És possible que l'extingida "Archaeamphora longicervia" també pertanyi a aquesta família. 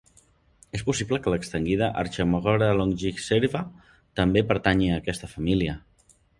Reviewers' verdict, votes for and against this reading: rejected, 2, 3